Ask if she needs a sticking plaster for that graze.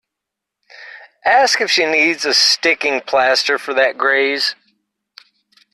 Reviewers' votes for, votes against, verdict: 2, 0, accepted